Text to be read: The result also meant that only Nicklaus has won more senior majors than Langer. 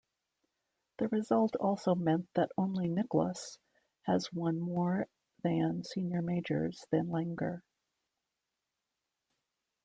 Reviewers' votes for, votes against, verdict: 1, 2, rejected